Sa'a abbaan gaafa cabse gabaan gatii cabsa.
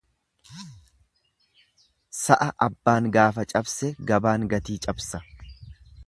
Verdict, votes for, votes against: accepted, 2, 0